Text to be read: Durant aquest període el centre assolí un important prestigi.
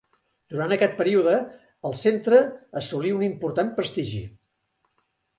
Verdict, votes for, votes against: accepted, 2, 0